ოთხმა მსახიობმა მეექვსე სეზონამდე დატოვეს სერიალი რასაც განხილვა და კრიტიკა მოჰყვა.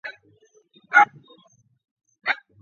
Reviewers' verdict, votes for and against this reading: rejected, 0, 2